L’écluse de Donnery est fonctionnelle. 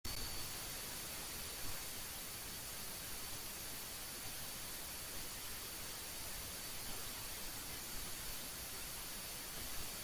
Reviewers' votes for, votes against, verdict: 0, 2, rejected